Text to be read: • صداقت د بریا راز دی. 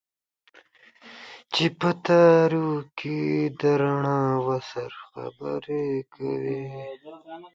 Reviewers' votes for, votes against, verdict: 0, 2, rejected